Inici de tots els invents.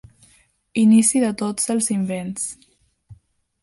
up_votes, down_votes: 2, 0